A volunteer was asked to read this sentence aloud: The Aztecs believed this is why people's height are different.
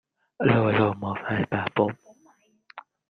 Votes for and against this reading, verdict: 0, 2, rejected